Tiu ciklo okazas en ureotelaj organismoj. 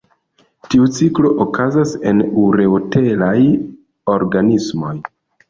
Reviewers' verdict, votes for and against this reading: rejected, 0, 2